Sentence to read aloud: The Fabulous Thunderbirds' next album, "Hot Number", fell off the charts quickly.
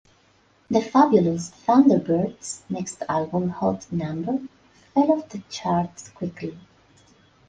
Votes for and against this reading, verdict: 4, 0, accepted